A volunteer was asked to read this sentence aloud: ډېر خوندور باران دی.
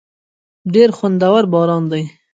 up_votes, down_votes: 2, 0